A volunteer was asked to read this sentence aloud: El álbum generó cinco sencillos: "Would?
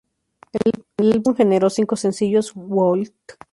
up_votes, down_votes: 0, 2